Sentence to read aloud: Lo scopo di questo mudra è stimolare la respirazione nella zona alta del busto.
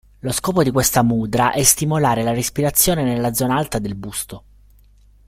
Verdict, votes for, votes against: rejected, 1, 2